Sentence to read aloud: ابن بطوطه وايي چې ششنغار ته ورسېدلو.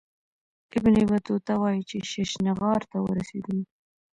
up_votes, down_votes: 1, 2